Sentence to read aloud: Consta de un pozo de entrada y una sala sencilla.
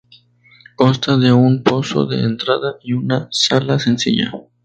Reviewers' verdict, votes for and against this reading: accepted, 4, 0